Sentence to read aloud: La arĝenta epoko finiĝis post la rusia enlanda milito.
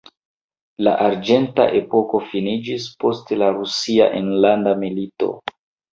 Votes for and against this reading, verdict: 2, 0, accepted